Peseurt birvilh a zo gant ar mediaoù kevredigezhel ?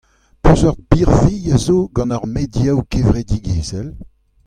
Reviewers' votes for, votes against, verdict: 1, 2, rejected